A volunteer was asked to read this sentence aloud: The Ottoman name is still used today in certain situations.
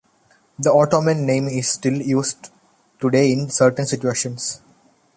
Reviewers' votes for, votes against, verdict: 2, 0, accepted